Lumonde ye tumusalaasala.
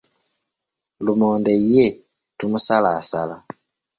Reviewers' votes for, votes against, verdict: 2, 0, accepted